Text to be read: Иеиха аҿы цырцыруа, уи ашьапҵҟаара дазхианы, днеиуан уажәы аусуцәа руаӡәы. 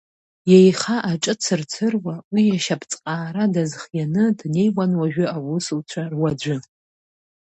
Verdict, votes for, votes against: accepted, 2, 0